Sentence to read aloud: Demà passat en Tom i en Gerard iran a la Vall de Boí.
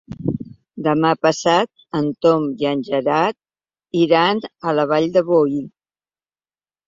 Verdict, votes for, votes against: accepted, 3, 0